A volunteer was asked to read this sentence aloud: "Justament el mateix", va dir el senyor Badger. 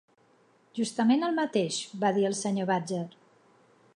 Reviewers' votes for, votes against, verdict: 2, 0, accepted